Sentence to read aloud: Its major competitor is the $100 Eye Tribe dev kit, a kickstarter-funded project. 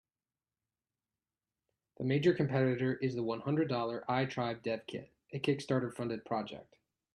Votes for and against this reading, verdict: 0, 2, rejected